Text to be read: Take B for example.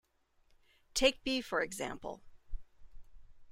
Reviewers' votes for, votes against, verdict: 2, 0, accepted